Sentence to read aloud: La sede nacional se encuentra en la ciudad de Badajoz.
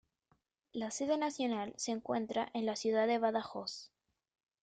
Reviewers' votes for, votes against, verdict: 2, 0, accepted